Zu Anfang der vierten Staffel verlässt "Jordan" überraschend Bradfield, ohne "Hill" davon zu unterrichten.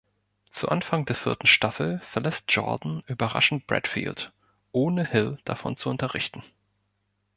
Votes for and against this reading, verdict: 5, 0, accepted